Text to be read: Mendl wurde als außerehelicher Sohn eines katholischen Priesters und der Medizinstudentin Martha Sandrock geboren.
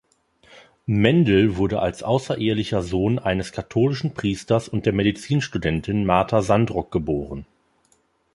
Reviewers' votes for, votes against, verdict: 4, 0, accepted